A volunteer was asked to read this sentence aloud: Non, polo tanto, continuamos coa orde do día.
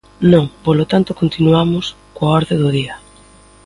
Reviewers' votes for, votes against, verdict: 2, 0, accepted